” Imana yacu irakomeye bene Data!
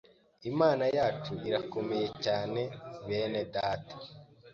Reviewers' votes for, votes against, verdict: 1, 2, rejected